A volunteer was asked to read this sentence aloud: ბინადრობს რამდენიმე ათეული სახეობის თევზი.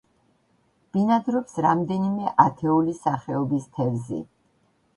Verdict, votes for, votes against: accepted, 2, 0